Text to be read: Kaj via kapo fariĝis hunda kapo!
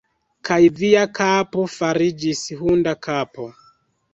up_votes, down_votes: 1, 2